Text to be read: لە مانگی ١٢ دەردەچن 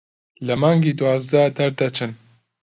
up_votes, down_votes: 0, 2